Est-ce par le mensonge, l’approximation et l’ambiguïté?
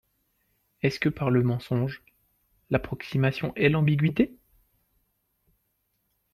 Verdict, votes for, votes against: rejected, 0, 2